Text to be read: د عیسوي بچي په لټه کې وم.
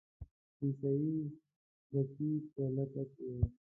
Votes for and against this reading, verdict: 0, 2, rejected